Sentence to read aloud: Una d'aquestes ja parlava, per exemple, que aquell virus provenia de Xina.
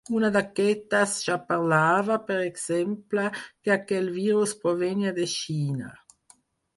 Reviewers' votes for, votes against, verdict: 2, 4, rejected